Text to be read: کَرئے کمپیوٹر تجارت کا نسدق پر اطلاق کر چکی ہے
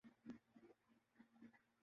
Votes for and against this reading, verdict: 0, 2, rejected